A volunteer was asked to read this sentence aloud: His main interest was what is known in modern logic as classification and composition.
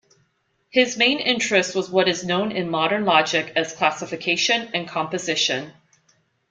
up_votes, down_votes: 2, 0